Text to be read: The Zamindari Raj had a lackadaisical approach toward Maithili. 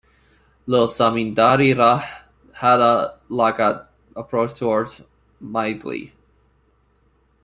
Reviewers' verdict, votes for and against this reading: rejected, 0, 2